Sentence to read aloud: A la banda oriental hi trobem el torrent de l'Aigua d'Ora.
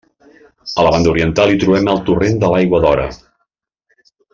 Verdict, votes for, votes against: accepted, 2, 0